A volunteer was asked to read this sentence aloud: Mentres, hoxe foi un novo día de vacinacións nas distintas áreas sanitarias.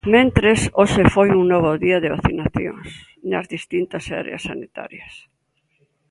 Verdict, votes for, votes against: accepted, 2, 0